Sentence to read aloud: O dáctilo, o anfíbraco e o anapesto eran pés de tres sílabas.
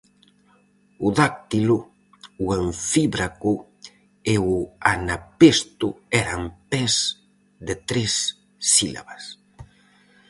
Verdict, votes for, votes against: accepted, 4, 0